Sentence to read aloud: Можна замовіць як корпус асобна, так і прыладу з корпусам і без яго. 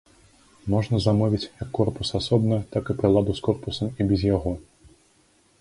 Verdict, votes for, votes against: accepted, 2, 0